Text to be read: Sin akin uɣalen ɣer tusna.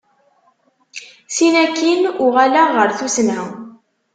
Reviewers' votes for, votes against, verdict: 0, 2, rejected